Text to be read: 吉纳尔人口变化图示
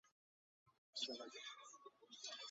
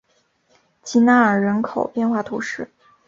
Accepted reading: second